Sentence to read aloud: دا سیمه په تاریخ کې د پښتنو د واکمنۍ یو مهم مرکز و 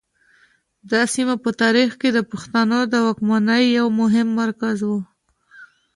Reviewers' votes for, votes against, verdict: 2, 0, accepted